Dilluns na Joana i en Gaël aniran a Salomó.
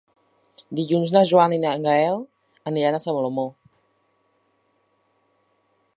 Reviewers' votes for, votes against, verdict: 2, 3, rejected